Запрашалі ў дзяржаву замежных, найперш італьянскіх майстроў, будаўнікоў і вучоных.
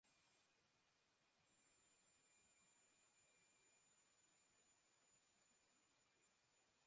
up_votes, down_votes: 0, 2